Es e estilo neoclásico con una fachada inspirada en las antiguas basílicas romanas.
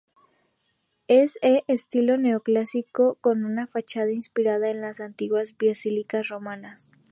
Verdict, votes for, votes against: accepted, 2, 0